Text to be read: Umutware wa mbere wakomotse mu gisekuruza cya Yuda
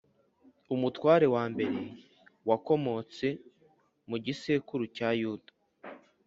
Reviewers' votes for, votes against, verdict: 2, 3, rejected